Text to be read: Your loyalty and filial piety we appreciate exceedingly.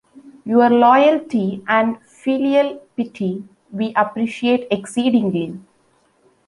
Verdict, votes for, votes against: accepted, 2, 0